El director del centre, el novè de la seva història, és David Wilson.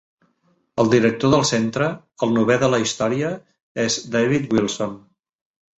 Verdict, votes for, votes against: rejected, 0, 2